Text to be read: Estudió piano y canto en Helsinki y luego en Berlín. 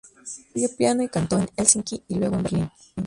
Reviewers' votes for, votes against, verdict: 0, 4, rejected